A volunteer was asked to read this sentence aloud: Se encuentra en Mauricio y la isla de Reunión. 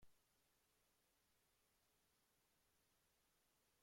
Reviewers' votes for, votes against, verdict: 0, 2, rejected